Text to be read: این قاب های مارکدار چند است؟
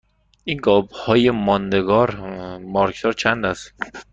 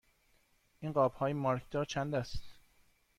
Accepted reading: second